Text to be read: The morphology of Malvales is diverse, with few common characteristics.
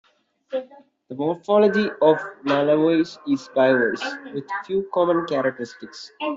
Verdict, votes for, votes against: rejected, 0, 2